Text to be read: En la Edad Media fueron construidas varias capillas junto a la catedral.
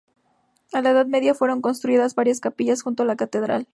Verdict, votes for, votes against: accepted, 4, 0